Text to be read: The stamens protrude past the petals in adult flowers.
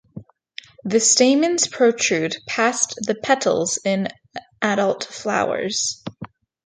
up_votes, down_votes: 2, 0